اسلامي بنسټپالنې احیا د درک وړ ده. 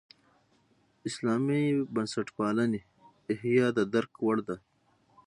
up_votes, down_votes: 0, 3